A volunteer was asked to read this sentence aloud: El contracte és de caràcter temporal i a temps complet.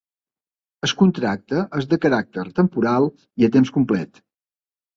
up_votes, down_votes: 1, 2